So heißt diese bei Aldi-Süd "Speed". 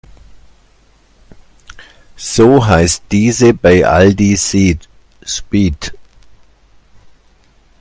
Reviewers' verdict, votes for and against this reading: rejected, 1, 2